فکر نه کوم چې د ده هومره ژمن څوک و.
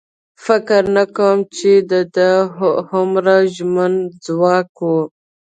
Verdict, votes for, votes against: rejected, 1, 2